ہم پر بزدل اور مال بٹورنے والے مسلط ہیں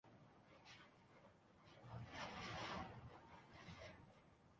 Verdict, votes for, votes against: rejected, 0, 2